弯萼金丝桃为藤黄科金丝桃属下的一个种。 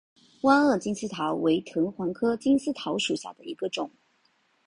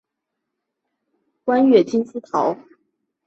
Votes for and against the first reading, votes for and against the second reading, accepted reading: 2, 0, 3, 5, first